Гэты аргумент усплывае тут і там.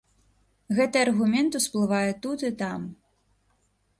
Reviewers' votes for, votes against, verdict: 2, 0, accepted